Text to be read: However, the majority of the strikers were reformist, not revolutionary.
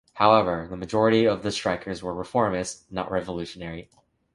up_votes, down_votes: 2, 0